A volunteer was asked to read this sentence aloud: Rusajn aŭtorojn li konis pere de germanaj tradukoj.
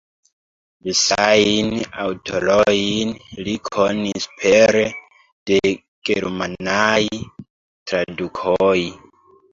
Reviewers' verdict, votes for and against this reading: rejected, 1, 2